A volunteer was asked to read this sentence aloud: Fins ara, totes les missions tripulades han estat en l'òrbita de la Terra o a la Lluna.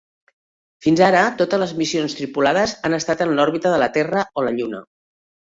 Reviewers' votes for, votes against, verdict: 2, 3, rejected